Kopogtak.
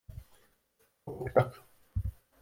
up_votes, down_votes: 1, 2